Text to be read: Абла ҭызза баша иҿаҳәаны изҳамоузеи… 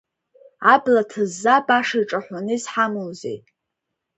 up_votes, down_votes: 2, 1